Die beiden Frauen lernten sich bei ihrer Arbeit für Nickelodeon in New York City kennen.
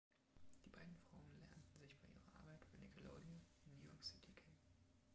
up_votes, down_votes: 0, 2